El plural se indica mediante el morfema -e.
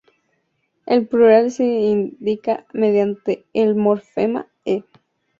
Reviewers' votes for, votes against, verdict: 2, 0, accepted